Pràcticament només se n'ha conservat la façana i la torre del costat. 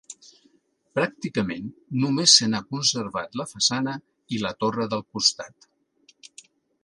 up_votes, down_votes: 2, 0